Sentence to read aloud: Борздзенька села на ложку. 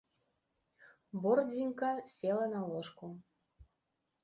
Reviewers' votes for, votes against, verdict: 0, 2, rejected